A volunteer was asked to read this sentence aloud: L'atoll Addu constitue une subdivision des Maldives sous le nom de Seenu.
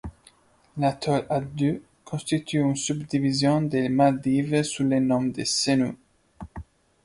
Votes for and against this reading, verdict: 1, 2, rejected